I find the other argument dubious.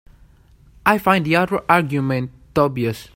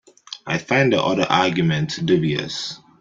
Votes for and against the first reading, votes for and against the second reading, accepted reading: 3, 4, 2, 1, second